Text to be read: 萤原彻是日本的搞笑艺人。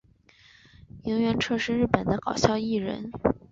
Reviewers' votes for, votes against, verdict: 3, 0, accepted